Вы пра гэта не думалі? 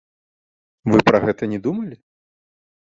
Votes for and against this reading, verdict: 3, 0, accepted